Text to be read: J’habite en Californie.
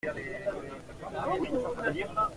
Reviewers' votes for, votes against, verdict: 0, 2, rejected